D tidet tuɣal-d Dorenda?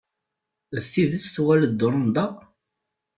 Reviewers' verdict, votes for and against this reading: accepted, 2, 0